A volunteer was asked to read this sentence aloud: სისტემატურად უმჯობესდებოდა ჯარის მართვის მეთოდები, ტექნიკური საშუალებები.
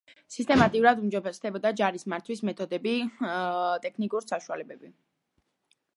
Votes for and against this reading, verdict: 2, 1, accepted